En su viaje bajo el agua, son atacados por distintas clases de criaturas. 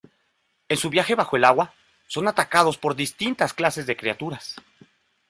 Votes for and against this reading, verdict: 2, 0, accepted